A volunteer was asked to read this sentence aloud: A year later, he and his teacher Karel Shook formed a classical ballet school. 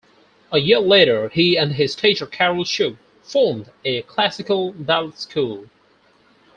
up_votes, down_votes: 2, 4